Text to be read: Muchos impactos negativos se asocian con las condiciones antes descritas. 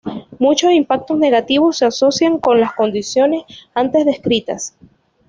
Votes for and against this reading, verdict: 2, 1, accepted